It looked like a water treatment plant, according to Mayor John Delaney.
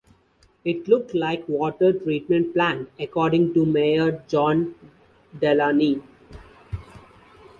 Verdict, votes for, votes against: accepted, 2, 0